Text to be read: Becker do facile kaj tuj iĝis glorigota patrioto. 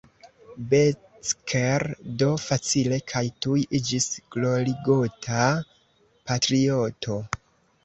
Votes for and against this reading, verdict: 1, 2, rejected